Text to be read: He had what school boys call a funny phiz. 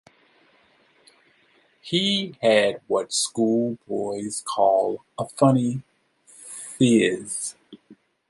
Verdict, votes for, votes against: accepted, 2, 1